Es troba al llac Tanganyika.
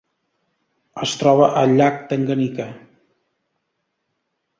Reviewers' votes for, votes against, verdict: 2, 0, accepted